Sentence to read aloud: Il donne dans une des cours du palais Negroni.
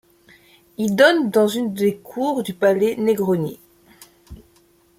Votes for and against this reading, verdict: 1, 2, rejected